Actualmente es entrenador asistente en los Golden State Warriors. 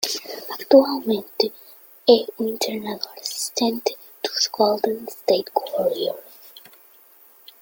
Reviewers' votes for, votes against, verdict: 0, 2, rejected